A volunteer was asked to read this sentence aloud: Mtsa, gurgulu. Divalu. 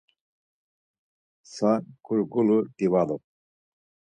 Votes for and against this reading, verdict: 4, 0, accepted